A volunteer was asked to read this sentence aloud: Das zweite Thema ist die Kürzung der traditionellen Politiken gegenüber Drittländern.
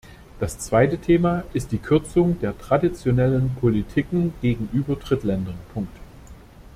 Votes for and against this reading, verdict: 1, 2, rejected